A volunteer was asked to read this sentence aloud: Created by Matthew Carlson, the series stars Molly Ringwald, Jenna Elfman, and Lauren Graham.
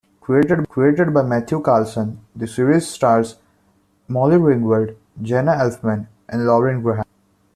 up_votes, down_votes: 0, 2